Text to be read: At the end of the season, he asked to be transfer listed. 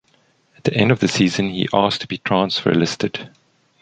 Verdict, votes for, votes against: accepted, 2, 0